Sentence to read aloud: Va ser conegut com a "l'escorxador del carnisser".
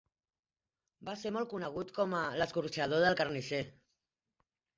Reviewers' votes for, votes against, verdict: 1, 2, rejected